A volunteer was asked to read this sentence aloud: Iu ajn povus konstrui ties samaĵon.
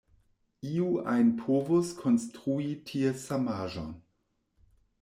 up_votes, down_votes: 2, 0